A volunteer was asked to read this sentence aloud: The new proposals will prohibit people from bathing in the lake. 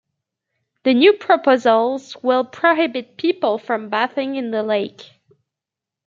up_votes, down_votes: 1, 2